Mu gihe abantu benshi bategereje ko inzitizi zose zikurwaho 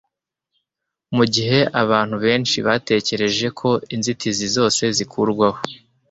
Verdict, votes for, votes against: accepted, 2, 0